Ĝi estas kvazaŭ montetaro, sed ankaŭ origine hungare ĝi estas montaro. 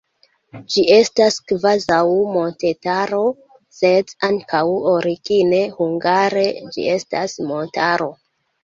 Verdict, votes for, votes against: accepted, 2, 1